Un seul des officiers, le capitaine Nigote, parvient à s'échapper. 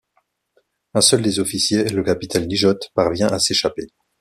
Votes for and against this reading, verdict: 1, 2, rejected